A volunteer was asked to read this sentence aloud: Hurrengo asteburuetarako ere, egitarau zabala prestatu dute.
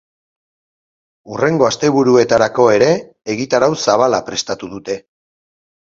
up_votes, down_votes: 2, 0